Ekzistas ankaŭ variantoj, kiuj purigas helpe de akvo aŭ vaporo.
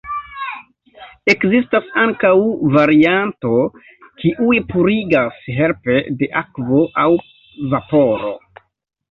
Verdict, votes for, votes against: rejected, 0, 2